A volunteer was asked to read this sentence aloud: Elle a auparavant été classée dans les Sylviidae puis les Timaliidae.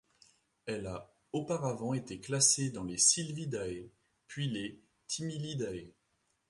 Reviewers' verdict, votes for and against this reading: rejected, 1, 2